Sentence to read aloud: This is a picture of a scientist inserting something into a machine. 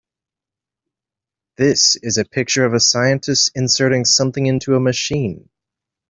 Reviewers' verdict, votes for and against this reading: accepted, 2, 0